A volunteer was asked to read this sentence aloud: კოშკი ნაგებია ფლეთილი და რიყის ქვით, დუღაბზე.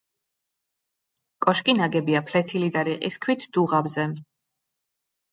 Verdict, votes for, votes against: rejected, 0, 2